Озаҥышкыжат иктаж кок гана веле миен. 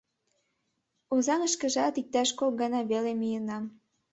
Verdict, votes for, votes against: rejected, 1, 2